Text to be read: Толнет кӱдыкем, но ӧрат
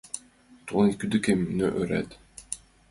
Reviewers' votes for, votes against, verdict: 0, 2, rejected